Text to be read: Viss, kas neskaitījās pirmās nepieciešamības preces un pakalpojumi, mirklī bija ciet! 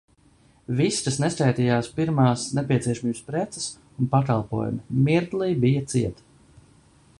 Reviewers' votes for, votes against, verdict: 0, 2, rejected